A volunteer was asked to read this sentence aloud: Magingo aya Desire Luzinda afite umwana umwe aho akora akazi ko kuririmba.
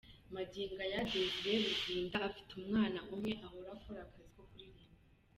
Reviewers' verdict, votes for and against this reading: rejected, 2, 3